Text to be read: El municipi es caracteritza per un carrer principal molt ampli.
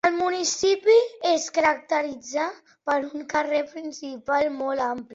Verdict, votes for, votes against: accepted, 2, 0